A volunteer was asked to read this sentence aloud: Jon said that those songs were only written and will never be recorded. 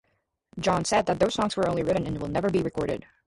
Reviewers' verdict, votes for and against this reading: rejected, 2, 2